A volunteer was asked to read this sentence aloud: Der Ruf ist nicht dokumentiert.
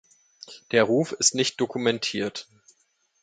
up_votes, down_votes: 2, 0